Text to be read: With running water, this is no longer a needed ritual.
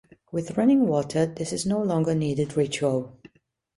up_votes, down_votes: 0, 2